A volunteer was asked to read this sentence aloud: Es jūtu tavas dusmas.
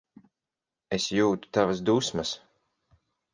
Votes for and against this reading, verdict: 6, 0, accepted